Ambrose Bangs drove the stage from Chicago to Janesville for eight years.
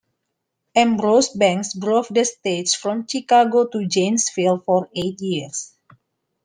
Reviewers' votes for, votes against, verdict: 2, 1, accepted